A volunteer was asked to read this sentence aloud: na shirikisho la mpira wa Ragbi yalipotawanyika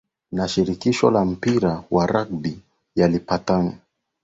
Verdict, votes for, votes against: rejected, 0, 2